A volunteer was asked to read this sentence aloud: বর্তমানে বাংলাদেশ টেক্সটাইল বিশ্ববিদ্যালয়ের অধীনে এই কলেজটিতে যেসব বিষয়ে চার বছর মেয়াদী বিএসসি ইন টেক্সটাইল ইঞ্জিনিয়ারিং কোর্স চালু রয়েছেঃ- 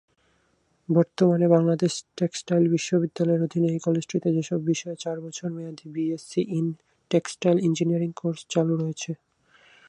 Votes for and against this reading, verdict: 2, 4, rejected